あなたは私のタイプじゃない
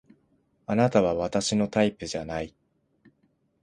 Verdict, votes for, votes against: accepted, 2, 0